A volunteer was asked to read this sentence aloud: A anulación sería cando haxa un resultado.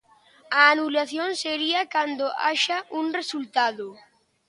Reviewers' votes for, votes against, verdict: 2, 0, accepted